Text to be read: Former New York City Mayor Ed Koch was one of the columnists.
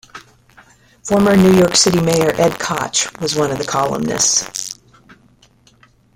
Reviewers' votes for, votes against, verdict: 1, 2, rejected